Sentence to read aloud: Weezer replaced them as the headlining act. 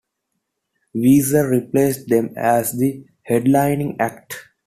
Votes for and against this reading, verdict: 2, 1, accepted